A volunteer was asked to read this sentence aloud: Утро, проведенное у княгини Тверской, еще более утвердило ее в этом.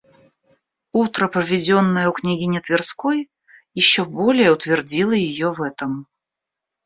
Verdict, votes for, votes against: accepted, 2, 0